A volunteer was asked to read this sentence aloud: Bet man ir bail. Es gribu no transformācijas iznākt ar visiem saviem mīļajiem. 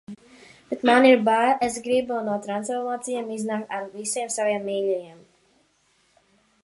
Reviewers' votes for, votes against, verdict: 0, 2, rejected